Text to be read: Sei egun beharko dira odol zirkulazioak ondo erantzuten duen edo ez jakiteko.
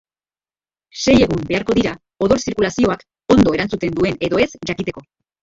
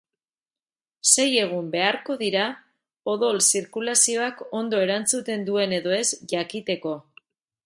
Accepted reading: second